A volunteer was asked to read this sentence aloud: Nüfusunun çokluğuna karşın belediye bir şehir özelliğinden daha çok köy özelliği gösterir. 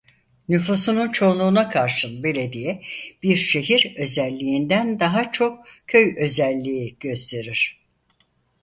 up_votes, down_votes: 0, 4